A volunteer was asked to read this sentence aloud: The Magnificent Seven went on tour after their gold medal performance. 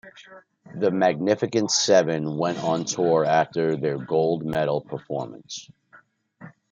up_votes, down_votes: 2, 0